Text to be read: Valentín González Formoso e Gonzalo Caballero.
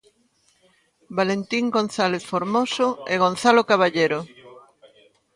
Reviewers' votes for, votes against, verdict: 0, 2, rejected